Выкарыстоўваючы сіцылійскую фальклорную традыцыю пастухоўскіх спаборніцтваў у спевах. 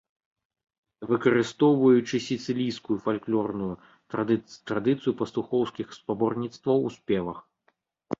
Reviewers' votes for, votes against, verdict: 0, 2, rejected